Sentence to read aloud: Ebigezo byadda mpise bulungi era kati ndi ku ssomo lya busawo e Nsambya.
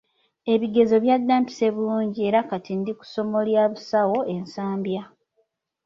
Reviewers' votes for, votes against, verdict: 2, 0, accepted